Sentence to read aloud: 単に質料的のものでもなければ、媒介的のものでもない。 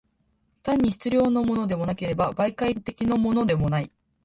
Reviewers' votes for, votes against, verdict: 0, 2, rejected